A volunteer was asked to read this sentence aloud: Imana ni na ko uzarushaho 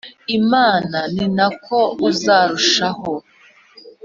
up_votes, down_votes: 2, 0